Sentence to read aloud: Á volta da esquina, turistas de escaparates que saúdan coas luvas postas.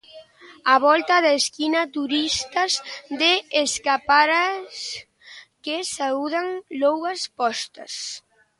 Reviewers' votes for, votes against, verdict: 0, 2, rejected